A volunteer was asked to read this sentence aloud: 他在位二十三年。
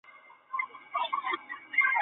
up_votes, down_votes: 1, 3